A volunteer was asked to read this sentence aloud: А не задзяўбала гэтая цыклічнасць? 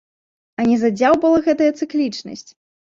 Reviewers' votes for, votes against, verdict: 0, 2, rejected